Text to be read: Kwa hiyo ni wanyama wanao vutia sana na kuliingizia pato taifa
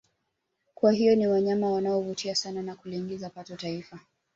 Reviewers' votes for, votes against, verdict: 2, 0, accepted